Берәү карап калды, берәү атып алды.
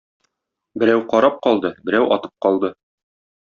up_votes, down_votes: 1, 2